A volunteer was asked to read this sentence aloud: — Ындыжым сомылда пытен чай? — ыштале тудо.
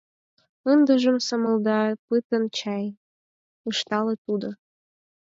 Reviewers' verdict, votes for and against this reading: accepted, 4, 2